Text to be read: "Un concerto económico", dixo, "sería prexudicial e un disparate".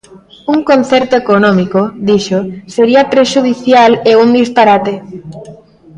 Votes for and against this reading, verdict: 0, 2, rejected